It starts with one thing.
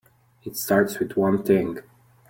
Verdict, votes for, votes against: accepted, 2, 0